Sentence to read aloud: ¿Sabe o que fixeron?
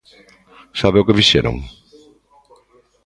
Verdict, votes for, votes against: rejected, 1, 2